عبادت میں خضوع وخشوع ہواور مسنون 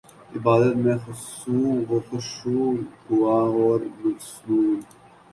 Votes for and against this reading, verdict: 2, 4, rejected